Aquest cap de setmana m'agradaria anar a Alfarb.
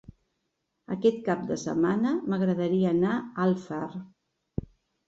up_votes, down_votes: 1, 2